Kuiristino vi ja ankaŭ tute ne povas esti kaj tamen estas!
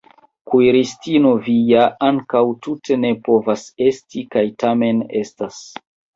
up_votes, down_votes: 0, 2